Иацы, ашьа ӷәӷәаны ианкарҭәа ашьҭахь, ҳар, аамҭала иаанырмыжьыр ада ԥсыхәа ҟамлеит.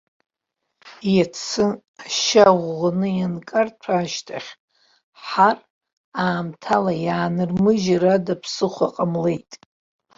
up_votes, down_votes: 2, 0